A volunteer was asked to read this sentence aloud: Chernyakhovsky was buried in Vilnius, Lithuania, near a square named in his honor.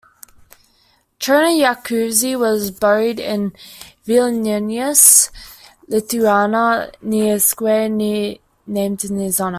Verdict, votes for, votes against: rejected, 0, 2